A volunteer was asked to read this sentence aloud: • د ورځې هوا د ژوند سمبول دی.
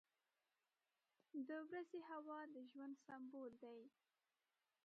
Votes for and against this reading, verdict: 1, 2, rejected